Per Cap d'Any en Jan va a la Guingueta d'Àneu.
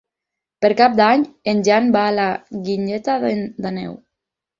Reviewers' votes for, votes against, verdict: 2, 4, rejected